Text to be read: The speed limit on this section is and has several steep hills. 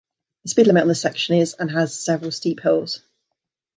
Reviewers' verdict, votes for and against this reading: accepted, 2, 0